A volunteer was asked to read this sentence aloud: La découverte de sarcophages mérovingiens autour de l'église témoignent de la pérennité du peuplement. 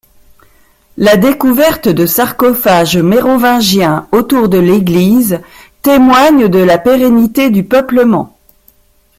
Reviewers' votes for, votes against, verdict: 2, 0, accepted